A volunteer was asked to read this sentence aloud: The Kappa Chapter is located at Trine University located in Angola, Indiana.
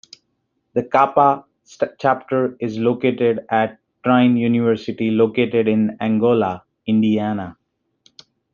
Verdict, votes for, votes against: accepted, 2, 1